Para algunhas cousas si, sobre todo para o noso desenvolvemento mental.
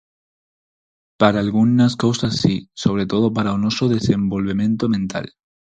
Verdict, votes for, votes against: accepted, 4, 2